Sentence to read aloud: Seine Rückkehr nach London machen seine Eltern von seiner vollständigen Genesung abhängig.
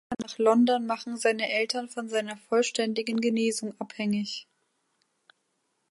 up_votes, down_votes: 0, 2